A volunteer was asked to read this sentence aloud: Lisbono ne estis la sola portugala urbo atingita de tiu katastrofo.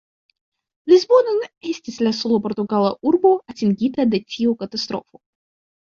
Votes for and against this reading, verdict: 1, 2, rejected